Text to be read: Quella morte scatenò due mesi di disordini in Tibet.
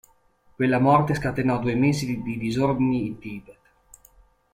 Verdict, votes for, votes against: accepted, 2, 0